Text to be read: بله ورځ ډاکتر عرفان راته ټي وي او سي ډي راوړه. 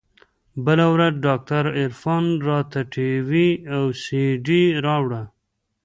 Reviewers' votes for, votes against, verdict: 2, 0, accepted